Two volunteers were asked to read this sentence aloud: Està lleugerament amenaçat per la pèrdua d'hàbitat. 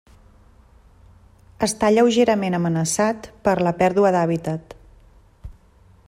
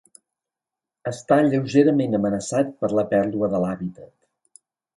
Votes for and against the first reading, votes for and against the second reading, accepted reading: 3, 0, 0, 2, first